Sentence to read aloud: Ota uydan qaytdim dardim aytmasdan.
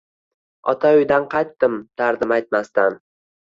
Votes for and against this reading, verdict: 2, 0, accepted